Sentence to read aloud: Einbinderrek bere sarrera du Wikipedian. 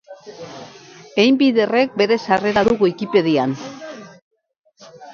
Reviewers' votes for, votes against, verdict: 2, 0, accepted